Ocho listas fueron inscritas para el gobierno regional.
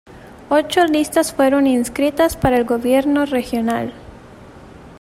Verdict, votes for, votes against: accepted, 2, 0